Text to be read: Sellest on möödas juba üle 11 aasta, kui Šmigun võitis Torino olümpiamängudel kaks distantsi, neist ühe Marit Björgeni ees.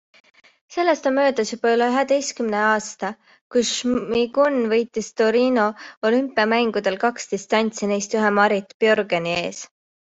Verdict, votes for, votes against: rejected, 0, 2